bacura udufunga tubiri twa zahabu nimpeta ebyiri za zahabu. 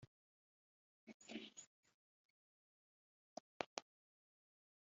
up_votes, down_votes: 0, 2